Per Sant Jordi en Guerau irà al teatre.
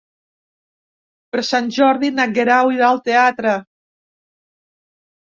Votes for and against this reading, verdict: 0, 2, rejected